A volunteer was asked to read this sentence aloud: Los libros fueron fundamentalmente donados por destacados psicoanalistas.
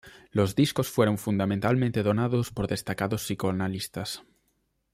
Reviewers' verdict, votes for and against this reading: rejected, 0, 2